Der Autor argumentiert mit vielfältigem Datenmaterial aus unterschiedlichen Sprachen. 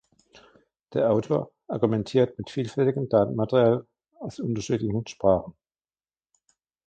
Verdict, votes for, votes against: rejected, 1, 2